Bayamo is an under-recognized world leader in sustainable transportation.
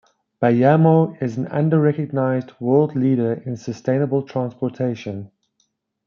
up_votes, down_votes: 2, 1